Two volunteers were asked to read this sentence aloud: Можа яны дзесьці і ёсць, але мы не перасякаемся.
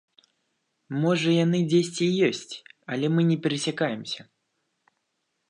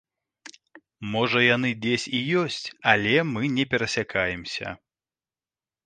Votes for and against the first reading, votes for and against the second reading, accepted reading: 2, 0, 1, 2, first